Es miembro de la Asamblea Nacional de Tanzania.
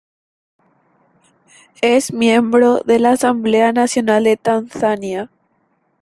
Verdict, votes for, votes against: accepted, 2, 0